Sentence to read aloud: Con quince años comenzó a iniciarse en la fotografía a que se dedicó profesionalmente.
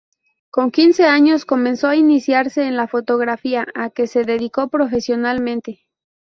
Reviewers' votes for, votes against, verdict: 0, 2, rejected